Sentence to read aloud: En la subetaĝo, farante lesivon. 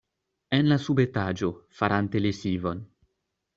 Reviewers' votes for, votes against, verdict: 2, 0, accepted